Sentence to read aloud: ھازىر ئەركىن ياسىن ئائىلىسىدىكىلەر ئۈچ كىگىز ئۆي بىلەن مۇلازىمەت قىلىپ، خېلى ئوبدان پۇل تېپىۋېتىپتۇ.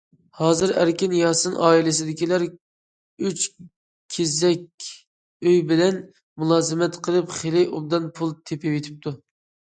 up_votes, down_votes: 0, 2